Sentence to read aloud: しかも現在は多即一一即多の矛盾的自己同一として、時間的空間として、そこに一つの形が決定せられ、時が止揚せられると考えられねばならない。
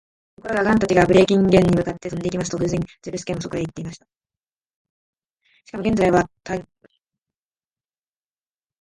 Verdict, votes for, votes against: rejected, 2, 13